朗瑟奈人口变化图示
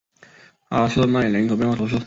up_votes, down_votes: 3, 1